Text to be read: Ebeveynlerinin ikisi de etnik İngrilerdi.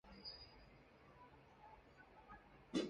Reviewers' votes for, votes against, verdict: 0, 2, rejected